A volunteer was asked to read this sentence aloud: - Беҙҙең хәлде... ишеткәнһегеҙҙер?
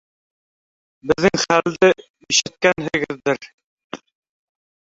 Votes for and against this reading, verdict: 0, 2, rejected